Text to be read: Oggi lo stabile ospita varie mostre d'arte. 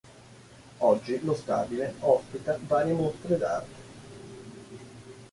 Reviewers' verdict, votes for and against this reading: rejected, 1, 2